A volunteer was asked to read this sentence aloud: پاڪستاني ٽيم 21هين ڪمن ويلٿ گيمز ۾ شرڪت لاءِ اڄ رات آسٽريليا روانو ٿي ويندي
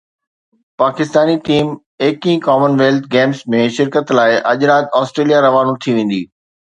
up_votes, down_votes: 0, 2